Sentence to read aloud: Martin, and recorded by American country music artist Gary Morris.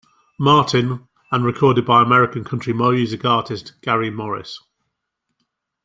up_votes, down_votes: 1, 2